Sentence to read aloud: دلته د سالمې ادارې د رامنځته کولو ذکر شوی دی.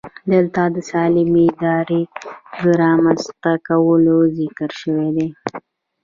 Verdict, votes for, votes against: accepted, 2, 0